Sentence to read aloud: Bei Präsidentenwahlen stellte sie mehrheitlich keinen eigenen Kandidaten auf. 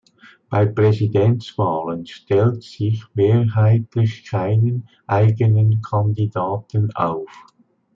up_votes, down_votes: 0, 2